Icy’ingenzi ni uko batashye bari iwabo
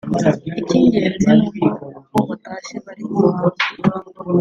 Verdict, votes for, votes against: rejected, 1, 3